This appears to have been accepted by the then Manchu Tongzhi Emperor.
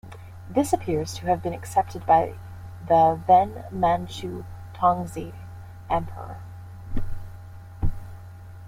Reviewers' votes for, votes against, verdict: 1, 2, rejected